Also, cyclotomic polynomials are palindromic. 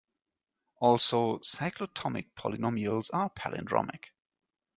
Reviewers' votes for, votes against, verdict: 2, 0, accepted